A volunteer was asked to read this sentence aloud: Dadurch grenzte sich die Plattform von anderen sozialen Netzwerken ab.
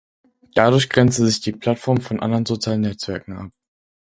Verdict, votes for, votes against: accepted, 4, 2